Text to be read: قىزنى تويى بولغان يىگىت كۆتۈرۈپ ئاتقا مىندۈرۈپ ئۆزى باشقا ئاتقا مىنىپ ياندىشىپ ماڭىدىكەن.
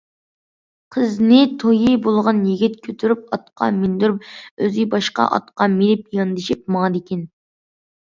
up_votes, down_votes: 2, 0